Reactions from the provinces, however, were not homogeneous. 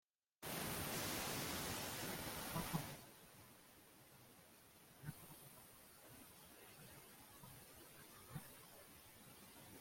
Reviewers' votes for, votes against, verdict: 0, 2, rejected